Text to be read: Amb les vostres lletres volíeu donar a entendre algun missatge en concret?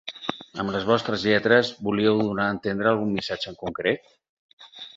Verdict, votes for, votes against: accepted, 6, 0